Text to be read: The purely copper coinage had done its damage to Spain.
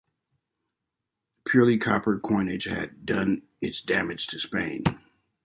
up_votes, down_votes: 1, 2